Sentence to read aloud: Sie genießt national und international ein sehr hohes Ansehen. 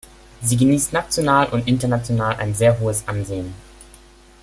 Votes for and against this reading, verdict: 2, 0, accepted